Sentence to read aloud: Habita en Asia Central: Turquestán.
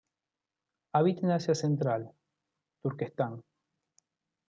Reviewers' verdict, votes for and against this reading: rejected, 0, 2